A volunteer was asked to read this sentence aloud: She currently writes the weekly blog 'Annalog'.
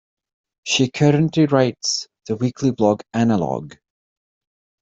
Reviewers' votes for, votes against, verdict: 2, 0, accepted